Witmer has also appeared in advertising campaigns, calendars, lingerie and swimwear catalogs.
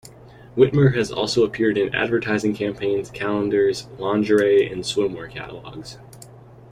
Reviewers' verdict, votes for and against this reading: rejected, 1, 2